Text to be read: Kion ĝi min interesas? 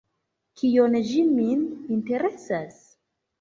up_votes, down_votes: 2, 1